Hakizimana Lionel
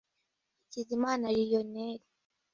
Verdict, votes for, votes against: accepted, 2, 0